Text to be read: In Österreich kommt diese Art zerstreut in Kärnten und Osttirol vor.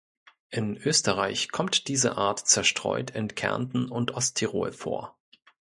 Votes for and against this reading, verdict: 2, 0, accepted